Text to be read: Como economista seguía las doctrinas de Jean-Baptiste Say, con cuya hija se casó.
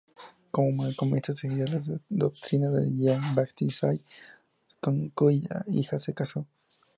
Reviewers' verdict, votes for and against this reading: rejected, 0, 2